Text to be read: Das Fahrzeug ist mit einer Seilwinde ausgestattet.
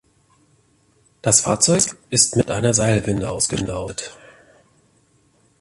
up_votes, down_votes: 0, 2